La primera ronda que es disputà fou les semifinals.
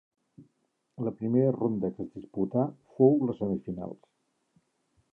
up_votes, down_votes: 2, 1